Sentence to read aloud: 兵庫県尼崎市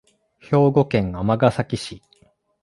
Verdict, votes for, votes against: accepted, 2, 0